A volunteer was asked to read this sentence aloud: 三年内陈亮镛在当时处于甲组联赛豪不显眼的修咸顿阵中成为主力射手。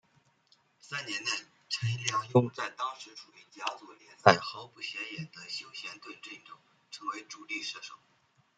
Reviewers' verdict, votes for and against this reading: rejected, 1, 2